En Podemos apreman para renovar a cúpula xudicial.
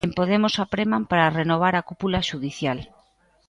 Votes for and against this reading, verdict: 2, 0, accepted